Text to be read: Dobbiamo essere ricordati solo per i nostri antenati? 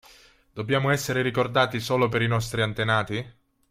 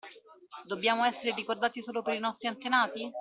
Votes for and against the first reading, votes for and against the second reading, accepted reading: 3, 0, 1, 2, first